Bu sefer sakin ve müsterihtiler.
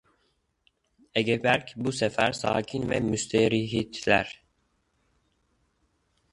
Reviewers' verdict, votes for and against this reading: rejected, 0, 2